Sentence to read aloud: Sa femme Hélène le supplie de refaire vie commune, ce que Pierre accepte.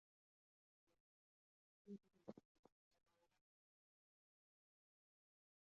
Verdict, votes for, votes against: rejected, 1, 2